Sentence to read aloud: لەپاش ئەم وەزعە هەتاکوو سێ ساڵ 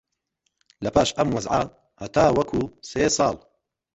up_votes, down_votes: 1, 2